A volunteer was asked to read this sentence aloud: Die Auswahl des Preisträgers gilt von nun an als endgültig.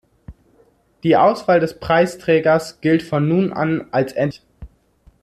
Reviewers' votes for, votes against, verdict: 0, 2, rejected